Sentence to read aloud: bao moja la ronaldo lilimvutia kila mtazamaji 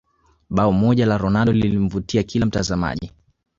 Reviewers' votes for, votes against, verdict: 1, 2, rejected